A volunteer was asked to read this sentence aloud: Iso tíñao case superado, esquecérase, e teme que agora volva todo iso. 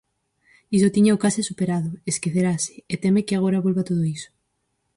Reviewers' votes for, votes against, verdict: 0, 4, rejected